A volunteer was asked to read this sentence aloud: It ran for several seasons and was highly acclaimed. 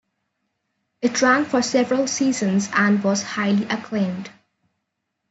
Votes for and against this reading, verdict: 2, 0, accepted